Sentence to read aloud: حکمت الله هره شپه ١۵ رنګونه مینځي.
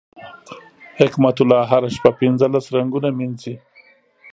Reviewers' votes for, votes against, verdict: 0, 2, rejected